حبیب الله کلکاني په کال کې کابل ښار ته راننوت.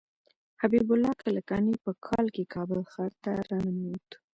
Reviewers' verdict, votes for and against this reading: rejected, 1, 2